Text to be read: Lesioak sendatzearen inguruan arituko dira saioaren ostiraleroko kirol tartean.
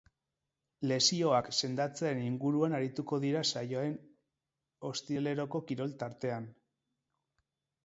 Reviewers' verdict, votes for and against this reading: accepted, 2, 0